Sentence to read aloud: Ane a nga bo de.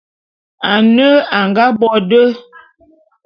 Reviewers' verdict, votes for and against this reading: accepted, 2, 0